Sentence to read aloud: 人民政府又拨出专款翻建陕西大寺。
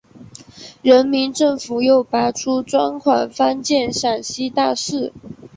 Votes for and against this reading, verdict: 0, 2, rejected